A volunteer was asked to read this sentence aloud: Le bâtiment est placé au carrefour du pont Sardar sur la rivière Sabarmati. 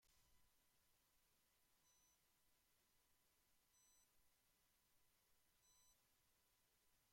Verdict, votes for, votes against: rejected, 1, 2